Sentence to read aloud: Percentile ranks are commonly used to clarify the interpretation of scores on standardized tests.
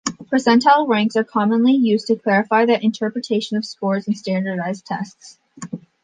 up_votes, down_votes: 2, 0